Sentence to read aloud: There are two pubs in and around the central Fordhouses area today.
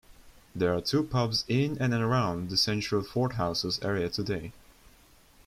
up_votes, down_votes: 2, 0